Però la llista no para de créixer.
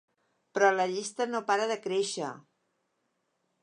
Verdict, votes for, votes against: accepted, 3, 0